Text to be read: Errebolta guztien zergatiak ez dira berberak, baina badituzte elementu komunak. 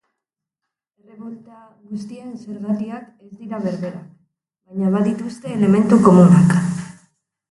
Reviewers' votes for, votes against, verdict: 1, 4, rejected